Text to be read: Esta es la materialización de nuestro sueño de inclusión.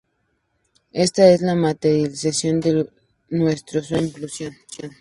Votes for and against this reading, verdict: 0, 2, rejected